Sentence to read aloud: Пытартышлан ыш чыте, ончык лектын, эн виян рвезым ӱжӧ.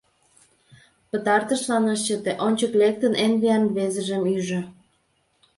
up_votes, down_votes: 1, 2